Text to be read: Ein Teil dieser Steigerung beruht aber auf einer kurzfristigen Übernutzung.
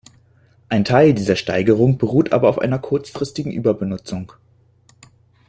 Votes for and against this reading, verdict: 0, 2, rejected